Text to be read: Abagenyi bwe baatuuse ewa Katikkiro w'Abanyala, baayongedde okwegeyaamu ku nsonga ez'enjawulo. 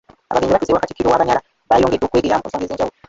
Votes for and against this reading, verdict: 0, 3, rejected